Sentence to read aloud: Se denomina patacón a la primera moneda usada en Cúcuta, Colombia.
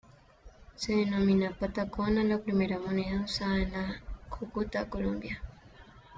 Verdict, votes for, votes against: rejected, 2, 3